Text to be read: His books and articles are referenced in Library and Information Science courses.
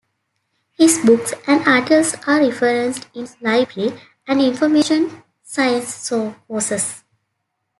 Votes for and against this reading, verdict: 1, 2, rejected